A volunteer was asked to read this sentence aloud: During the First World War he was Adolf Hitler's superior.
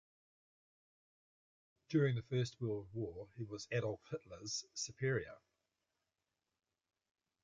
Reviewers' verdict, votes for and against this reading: accepted, 2, 0